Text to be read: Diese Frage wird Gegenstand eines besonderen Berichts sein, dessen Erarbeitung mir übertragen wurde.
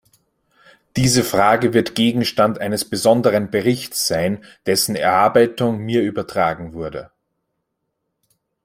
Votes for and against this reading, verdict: 3, 1, accepted